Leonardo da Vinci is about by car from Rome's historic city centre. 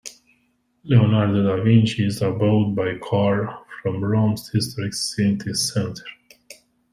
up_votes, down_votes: 2, 0